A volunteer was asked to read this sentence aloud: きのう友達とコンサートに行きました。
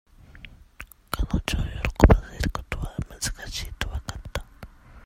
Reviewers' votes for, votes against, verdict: 0, 2, rejected